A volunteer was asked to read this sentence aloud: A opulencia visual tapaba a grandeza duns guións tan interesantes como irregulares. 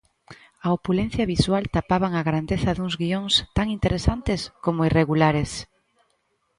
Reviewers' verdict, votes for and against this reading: rejected, 0, 2